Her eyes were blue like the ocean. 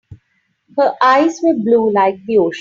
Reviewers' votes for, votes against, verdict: 0, 3, rejected